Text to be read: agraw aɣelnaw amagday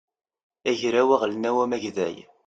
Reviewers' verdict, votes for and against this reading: accepted, 2, 0